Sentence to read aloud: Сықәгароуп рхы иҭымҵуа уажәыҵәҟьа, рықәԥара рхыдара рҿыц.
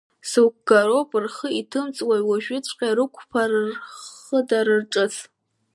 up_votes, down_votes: 0, 2